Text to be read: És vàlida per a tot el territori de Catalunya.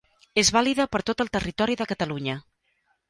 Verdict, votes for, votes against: rejected, 0, 2